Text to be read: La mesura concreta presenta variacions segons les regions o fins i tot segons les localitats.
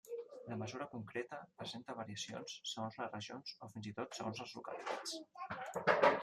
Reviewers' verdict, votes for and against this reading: rejected, 0, 2